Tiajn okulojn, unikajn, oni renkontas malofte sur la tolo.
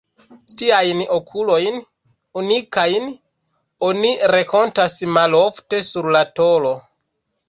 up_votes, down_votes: 2, 1